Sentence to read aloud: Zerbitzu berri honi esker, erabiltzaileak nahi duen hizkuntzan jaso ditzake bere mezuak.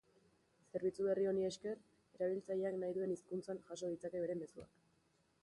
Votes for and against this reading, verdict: 2, 0, accepted